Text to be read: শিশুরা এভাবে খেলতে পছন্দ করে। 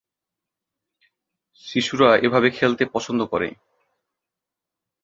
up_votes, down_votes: 2, 0